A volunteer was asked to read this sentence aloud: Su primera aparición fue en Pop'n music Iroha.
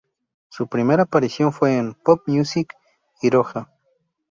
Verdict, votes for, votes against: rejected, 0, 2